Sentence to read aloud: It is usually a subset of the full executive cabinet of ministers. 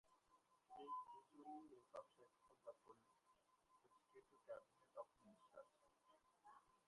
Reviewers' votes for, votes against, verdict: 0, 2, rejected